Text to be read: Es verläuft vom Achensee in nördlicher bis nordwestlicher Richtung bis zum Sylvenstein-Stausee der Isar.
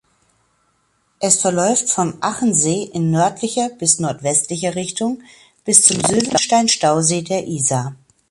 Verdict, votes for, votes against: accepted, 3, 0